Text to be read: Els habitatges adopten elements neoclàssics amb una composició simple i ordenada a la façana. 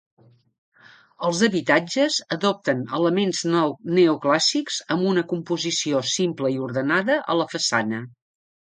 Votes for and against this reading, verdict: 1, 2, rejected